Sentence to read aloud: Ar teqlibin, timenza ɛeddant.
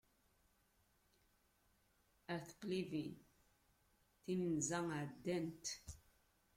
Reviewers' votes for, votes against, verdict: 1, 2, rejected